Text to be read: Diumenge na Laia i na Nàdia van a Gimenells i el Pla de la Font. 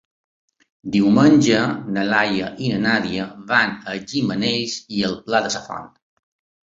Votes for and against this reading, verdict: 3, 1, accepted